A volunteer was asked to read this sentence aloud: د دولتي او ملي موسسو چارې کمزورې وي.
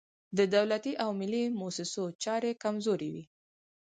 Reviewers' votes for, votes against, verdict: 0, 4, rejected